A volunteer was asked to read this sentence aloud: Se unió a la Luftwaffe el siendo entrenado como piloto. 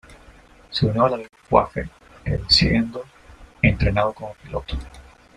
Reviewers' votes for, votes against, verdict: 1, 2, rejected